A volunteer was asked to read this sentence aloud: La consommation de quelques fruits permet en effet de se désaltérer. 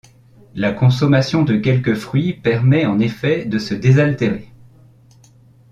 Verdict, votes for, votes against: accepted, 2, 0